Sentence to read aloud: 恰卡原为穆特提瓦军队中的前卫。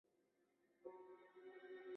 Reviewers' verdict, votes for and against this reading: rejected, 0, 2